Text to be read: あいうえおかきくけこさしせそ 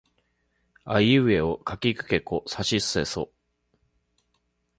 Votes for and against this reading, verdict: 2, 1, accepted